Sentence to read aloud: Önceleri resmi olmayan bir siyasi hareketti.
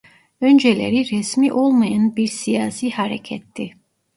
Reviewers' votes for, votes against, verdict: 1, 2, rejected